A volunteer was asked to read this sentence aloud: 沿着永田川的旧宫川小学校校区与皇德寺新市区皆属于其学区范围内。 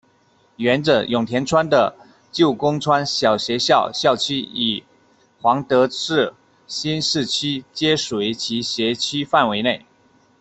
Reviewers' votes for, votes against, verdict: 1, 2, rejected